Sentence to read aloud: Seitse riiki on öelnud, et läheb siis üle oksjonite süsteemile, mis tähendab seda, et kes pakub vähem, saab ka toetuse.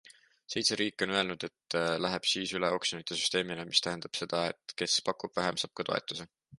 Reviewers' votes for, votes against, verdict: 2, 0, accepted